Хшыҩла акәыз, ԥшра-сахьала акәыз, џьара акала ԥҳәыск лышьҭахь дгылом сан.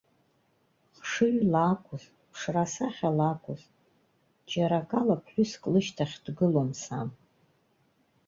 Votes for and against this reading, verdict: 2, 0, accepted